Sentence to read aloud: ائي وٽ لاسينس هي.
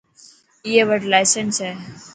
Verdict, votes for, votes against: accepted, 2, 0